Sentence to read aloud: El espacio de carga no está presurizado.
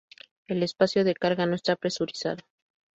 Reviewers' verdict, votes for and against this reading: accepted, 2, 0